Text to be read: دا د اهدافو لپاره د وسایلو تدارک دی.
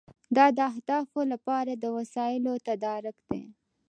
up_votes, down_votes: 2, 0